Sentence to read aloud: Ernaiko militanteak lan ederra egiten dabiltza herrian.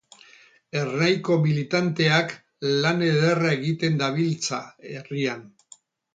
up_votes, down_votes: 0, 2